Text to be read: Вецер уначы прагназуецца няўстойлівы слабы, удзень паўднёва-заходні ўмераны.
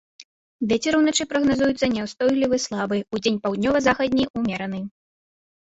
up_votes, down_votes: 0, 2